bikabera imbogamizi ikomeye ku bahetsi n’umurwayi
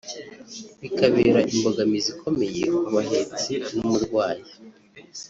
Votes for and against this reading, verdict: 1, 2, rejected